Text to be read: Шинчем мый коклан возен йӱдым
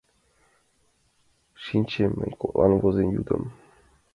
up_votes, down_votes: 2, 1